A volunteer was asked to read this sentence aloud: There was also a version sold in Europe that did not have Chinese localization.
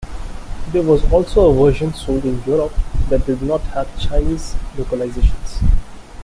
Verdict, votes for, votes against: rejected, 1, 2